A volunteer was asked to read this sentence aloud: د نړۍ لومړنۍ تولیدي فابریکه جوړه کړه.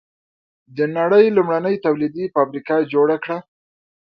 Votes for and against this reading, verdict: 2, 0, accepted